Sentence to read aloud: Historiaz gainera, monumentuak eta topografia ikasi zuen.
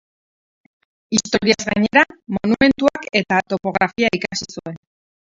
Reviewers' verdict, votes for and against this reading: rejected, 2, 4